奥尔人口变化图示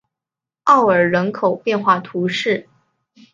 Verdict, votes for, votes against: accepted, 2, 0